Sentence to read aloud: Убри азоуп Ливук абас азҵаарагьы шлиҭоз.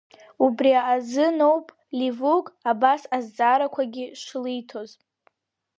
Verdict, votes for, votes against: rejected, 0, 2